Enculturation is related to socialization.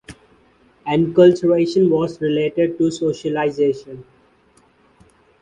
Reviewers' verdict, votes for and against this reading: rejected, 0, 2